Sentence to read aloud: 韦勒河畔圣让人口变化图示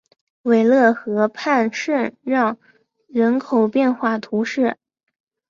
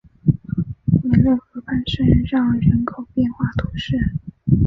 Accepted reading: first